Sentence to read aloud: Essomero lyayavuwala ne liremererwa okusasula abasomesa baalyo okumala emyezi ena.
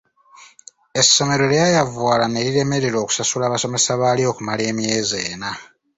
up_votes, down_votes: 2, 0